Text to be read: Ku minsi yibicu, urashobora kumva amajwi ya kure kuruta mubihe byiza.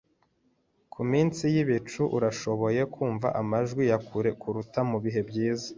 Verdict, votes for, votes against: accepted, 2, 1